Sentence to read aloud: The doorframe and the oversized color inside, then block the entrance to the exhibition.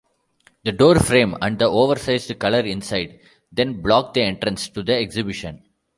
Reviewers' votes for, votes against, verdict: 2, 0, accepted